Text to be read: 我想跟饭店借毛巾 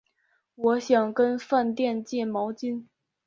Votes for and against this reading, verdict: 3, 1, accepted